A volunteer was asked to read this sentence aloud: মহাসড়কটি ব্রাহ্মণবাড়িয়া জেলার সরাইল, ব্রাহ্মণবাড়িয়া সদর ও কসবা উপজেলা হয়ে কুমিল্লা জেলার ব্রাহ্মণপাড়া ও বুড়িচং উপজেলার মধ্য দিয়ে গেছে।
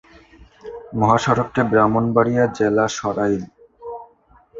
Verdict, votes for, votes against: rejected, 0, 2